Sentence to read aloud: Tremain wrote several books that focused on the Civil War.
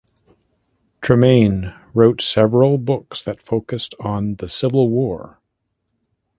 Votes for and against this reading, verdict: 2, 0, accepted